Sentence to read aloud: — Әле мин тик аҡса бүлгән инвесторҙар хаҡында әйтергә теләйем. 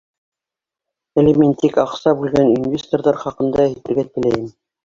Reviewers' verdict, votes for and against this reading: rejected, 1, 2